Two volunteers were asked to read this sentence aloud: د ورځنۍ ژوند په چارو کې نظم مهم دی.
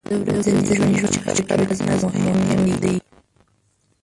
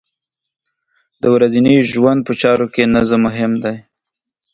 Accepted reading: second